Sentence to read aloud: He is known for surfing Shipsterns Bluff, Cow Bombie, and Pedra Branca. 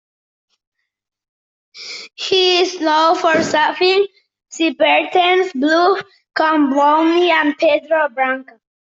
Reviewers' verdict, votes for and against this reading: rejected, 0, 2